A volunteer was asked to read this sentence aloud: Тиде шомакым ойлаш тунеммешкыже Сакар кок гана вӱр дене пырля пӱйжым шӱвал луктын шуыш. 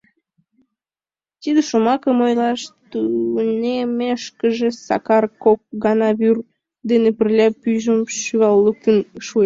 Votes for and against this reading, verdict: 2, 1, accepted